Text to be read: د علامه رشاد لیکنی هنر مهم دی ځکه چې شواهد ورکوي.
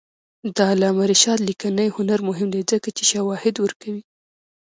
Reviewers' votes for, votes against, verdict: 1, 2, rejected